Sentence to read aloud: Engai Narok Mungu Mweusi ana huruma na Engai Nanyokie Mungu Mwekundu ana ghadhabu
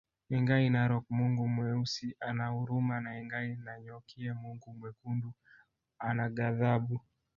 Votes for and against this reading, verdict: 2, 1, accepted